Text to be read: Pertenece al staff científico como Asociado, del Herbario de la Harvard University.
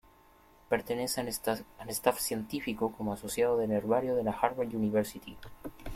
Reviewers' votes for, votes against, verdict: 1, 2, rejected